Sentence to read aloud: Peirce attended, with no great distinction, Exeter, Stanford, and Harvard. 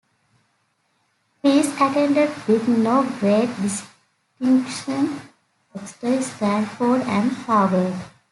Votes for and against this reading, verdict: 1, 2, rejected